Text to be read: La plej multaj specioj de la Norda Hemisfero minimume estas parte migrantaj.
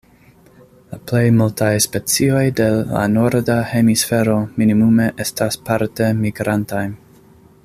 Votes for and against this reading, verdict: 2, 0, accepted